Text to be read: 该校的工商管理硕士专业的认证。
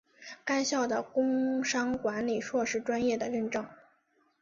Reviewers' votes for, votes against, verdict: 6, 0, accepted